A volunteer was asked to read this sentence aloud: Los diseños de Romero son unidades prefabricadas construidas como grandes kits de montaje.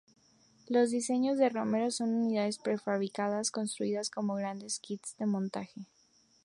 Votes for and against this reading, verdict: 2, 0, accepted